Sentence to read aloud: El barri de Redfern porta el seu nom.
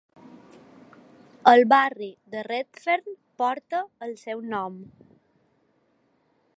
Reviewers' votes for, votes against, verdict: 4, 0, accepted